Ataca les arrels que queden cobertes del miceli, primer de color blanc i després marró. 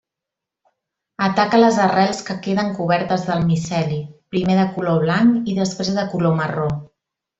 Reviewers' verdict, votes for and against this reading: rejected, 1, 2